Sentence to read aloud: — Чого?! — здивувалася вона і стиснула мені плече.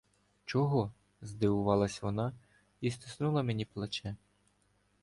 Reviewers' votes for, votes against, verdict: 1, 2, rejected